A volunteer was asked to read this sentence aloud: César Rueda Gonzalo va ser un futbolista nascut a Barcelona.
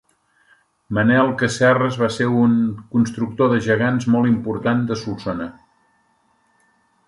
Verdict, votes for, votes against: rejected, 0, 2